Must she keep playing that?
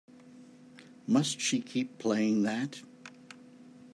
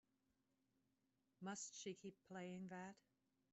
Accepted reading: first